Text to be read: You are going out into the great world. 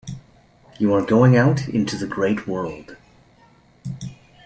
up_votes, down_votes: 2, 0